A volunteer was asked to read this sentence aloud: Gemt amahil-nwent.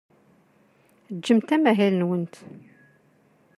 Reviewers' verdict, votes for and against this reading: accepted, 2, 0